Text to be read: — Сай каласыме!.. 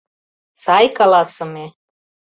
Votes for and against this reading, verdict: 2, 0, accepted